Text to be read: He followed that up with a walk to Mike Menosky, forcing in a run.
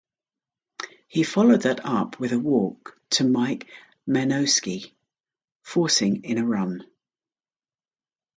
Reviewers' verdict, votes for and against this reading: accepted, 2, 0